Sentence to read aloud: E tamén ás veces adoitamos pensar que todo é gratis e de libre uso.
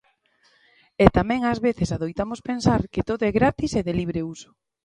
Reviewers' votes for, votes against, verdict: 2, 0, accepted